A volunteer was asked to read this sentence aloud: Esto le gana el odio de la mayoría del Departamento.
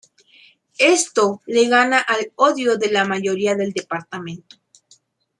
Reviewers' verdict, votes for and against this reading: rejected, 1, 2